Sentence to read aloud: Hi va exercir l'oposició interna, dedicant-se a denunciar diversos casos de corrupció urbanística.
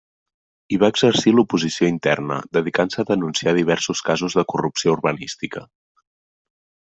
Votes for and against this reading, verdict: 2, 0, accepted